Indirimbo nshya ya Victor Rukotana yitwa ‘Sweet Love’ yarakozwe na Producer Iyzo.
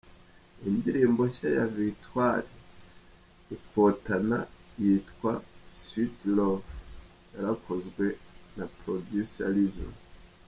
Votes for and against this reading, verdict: 2, 1, accepted